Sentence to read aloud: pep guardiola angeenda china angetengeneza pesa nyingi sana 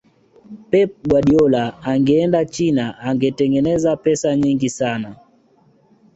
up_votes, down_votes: 2, 1